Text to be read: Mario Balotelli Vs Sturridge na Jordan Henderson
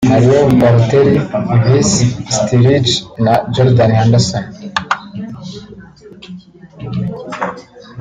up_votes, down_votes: 0, 2